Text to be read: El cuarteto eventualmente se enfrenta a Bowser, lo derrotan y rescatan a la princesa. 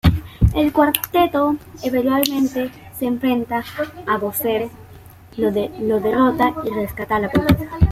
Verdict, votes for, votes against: rejected, 0, 2